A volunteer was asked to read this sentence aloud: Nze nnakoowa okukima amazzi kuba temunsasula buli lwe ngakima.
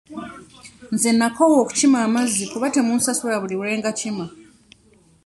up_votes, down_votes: 2, 0